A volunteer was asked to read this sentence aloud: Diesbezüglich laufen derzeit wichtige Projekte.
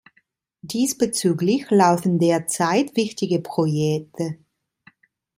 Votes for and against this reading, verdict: 2, 0, accepted